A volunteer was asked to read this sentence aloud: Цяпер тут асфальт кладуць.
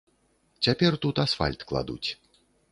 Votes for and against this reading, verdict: 2, 0, accepted